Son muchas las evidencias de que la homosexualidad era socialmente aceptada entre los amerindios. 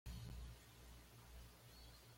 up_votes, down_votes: 1, 2